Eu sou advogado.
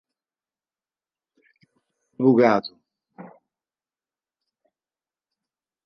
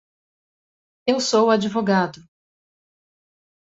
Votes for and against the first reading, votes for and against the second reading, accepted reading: 0, 2, 2, 0, second